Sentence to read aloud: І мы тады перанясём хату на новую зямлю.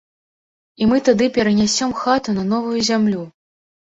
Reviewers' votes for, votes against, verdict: 2, 1, accepted